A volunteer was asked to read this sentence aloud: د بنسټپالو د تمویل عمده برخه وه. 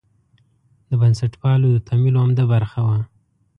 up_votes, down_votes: 2, 0